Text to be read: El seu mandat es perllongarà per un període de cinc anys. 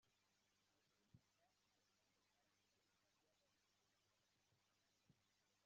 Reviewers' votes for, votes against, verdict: 0, 2, rejected